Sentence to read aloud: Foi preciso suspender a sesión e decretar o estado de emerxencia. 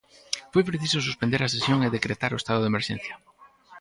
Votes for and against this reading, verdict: 4, 0, accepted